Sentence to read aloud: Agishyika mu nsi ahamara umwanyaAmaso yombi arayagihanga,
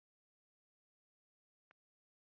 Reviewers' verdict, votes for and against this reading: rejected, 0, 2